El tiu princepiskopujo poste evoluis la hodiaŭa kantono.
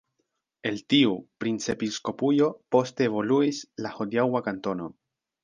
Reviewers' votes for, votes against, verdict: 1, 2, rejected